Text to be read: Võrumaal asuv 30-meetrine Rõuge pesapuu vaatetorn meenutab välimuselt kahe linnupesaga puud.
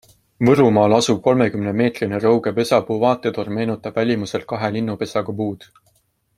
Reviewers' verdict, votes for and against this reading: rejected, 0, 2